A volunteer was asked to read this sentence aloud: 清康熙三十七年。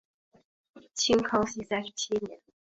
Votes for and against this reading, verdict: 6, 1, accepted